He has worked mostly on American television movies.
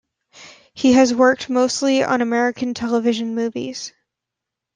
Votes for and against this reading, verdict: 2, 0, accepted